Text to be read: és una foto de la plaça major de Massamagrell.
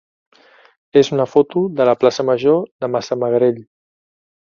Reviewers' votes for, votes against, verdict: 2, 0, accepted